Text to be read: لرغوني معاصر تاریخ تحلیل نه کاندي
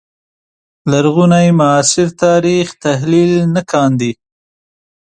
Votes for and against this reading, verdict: 2, 0, accepted